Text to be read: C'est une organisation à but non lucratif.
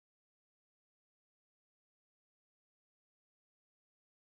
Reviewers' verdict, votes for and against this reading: rejected, 0, 2